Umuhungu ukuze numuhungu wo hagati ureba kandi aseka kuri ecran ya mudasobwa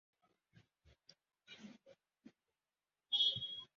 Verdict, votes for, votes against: rejected, 0, 2